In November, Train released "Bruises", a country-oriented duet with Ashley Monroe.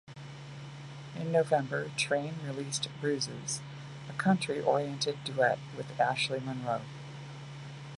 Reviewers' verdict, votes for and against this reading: accepted, 2, 0